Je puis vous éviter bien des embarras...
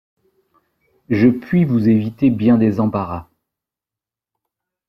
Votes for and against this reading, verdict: 2, 0, accepted